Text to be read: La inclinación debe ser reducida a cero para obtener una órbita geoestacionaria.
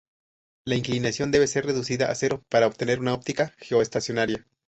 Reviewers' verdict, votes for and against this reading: rejected, 0, 2